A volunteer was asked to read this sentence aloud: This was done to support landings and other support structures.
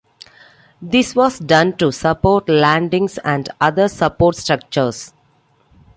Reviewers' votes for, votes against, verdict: 2, 0, accepted